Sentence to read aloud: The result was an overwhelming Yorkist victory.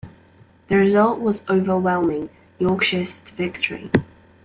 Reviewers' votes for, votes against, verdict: 0, 2, rejected